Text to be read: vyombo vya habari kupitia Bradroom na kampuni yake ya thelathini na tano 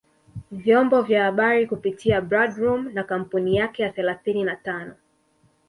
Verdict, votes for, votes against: accepted, 2, 0